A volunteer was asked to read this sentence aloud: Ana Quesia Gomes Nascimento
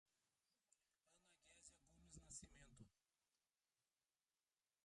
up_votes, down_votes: 0, 2